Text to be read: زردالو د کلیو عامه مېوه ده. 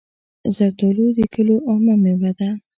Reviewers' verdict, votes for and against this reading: accepted, 2, 0